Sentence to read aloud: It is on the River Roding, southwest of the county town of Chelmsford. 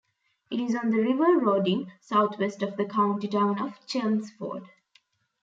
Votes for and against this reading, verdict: 2, 0, accepted